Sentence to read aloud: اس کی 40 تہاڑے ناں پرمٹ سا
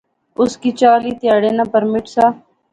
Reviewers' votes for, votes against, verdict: 0, 2, rejected